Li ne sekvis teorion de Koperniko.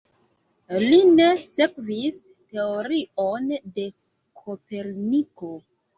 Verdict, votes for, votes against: accepted, 2, 1